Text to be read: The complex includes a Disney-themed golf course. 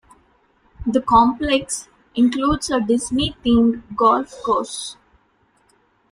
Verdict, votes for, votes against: rejected, 1, 2